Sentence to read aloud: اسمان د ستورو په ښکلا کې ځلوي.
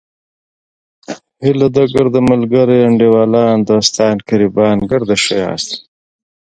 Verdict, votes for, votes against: rejected, 0, 2